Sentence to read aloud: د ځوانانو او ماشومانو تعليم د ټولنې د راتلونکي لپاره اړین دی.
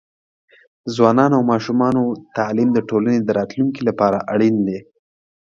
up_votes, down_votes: 2, 0